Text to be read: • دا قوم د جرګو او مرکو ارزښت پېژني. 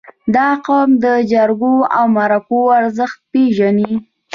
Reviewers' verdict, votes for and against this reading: accepted, 2, 0